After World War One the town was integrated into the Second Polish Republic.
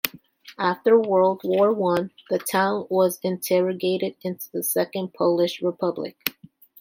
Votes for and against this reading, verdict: 0, 3, rejected